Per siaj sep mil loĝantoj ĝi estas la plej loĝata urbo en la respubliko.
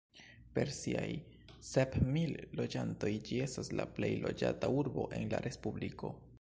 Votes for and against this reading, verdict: 0, 2, rejected